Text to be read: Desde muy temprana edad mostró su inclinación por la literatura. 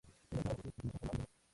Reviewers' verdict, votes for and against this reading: accepted, 2, 0